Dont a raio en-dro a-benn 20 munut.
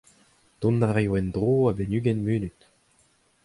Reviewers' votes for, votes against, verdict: 0, 2, rejected